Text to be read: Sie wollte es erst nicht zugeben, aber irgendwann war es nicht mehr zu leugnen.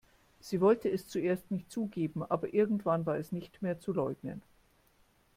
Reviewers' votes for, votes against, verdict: 1, 2, rejected